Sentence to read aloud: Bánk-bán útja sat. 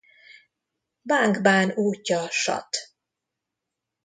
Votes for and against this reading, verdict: 0, 2, rejected